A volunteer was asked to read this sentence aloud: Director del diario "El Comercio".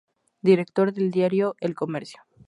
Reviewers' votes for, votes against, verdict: 0, 2, rejected